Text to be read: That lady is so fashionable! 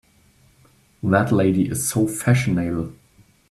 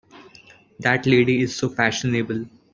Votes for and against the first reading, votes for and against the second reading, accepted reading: 1, 2, 2, 0, second